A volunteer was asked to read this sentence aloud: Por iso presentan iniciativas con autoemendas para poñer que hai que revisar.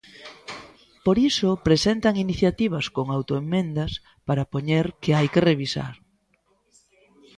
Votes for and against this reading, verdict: 1, 2, rejected